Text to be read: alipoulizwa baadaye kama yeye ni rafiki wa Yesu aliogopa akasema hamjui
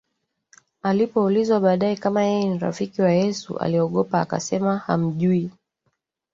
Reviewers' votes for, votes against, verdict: 1, 2, rejected